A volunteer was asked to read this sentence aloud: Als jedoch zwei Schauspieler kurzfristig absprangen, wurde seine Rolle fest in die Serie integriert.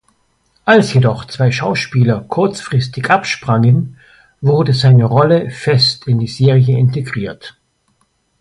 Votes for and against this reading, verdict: 2, 0, accepted